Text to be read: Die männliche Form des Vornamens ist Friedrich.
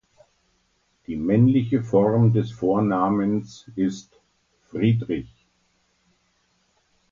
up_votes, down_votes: 2, 0